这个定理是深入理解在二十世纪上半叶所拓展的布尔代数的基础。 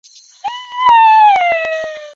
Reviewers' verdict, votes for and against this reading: rejected, 0, 2